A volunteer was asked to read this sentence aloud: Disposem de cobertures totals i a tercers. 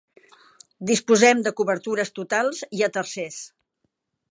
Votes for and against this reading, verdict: 3, 0, accepted